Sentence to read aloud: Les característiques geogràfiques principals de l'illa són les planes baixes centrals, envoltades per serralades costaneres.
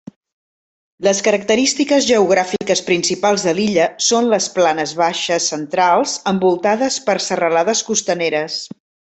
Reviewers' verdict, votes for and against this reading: accepted, 3, 0